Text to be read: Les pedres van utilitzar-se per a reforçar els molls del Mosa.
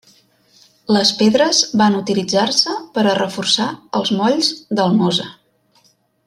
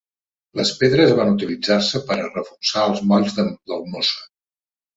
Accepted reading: first